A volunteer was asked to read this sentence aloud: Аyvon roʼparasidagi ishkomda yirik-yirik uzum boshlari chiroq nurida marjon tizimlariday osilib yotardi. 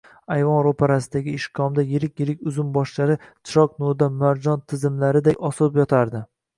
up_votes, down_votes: 2, 0